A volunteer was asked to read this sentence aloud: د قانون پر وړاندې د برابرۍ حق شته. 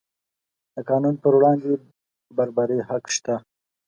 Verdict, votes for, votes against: rejected, 1, 2